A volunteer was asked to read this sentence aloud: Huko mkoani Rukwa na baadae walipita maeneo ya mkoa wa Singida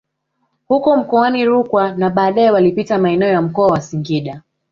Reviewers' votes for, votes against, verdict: 2, 0, accepted